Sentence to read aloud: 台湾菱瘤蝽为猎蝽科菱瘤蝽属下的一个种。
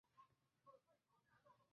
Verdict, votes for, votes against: rejected, 0, 2